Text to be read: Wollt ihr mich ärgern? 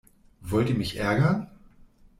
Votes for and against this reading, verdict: 2, 0, accepted